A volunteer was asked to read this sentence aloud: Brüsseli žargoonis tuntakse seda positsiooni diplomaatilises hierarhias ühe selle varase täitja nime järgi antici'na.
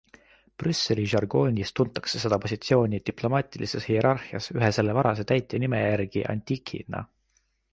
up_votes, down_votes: 2, 1